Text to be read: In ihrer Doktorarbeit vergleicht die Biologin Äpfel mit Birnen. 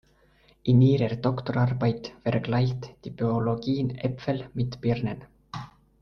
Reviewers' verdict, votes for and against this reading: rejected, 0, 2